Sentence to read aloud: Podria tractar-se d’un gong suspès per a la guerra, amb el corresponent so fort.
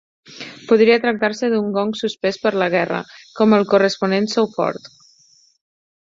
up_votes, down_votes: 0, 4